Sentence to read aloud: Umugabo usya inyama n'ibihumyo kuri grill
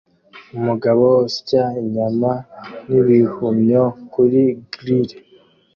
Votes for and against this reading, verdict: 2, 0, accepted